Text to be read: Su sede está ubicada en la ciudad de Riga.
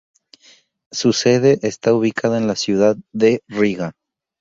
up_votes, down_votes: 2, 0